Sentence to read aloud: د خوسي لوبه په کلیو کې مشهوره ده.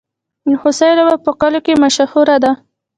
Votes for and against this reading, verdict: 1, 2, rejected